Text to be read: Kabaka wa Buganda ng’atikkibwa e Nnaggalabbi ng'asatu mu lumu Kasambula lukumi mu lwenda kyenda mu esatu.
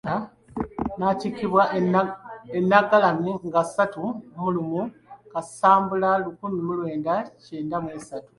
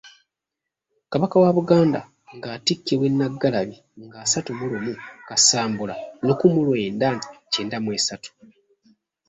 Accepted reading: second